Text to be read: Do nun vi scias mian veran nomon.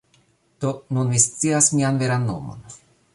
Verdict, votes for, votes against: accepted, 2, 0